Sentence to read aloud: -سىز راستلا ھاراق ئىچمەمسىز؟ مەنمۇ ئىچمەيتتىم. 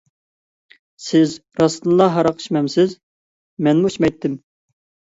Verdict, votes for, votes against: rejected, 1, 2